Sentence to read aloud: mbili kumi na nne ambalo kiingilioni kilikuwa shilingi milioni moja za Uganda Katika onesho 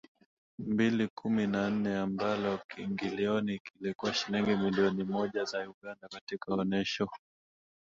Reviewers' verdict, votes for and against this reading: rejected, 0, 3